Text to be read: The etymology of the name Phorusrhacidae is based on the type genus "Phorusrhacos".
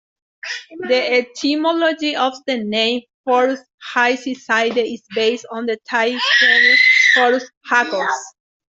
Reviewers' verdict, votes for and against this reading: rejected, 1, 2